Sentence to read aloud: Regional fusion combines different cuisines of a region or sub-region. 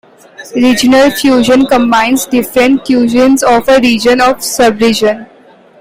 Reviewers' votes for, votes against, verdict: 2, 0, accepted